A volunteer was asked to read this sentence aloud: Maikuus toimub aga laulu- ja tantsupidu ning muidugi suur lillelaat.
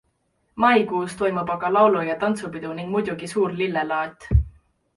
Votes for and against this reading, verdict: 2, 0, accepted